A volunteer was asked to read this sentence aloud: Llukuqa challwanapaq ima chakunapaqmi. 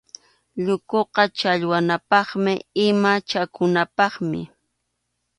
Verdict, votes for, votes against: accepted, 2, 0